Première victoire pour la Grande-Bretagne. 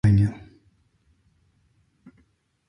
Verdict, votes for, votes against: rejected, 0, 2